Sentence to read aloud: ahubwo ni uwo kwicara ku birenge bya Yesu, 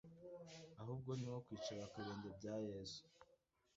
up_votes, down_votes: 0, 2